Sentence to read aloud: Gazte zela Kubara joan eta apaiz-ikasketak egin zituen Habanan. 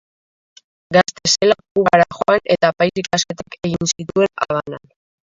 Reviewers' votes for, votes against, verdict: 0, 2, rejected